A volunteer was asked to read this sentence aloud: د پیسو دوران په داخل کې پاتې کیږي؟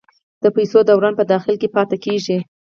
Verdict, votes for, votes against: accepted, 4, 0